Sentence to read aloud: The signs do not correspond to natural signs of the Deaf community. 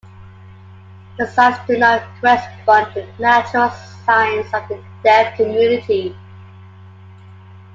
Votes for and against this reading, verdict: 0, 2, rejected